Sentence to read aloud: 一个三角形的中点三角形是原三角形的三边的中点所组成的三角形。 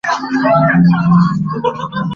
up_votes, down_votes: 0, 2